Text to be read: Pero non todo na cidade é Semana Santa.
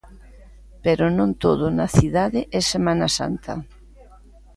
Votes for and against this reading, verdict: 2, 0, accepted